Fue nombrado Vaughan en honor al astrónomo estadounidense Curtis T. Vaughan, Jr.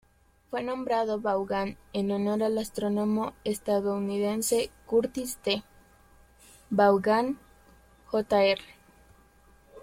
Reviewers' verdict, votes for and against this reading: rejected, 1, 3